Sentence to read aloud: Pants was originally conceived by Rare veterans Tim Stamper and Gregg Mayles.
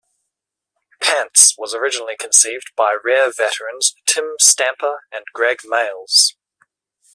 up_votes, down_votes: 2, 0